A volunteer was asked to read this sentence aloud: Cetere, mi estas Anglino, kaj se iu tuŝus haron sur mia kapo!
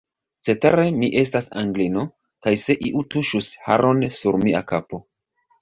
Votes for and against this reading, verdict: 2, 2, rejected